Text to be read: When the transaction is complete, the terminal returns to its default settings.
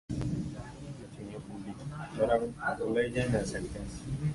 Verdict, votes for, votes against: rejected, 0, 2